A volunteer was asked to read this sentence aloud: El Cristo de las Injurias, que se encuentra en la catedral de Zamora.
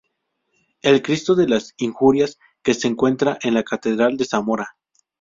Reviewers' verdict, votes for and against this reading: accepted, 2, 0